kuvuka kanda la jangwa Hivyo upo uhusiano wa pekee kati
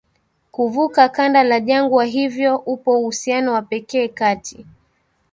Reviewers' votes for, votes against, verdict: 3, 0, accepted